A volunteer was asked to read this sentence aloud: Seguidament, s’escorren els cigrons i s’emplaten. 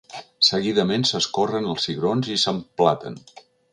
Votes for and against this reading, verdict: 3, 0, accepted